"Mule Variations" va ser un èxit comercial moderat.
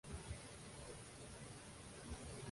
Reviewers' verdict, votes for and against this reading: rejected, 0, 2